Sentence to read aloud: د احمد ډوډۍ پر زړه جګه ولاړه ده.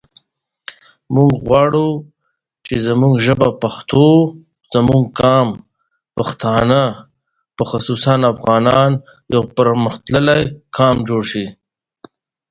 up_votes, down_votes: 0, 2